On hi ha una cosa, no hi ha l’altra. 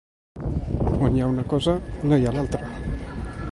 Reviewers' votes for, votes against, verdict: 2, 0, accepted